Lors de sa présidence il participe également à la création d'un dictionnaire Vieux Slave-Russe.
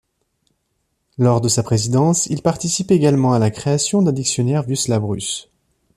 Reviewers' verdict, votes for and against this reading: accepted, 2, 1